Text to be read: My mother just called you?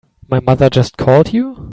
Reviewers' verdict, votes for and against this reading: accepted, 2, 0